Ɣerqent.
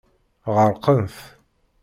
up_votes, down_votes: 1, 2